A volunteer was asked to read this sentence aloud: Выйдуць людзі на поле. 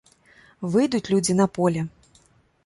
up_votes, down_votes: 2, 0